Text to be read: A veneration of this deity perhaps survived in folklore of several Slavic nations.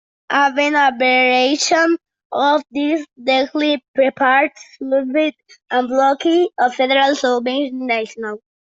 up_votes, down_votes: 0, 2